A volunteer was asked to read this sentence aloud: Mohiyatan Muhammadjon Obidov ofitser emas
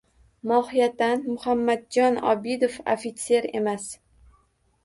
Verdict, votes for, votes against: accepted, 2, 0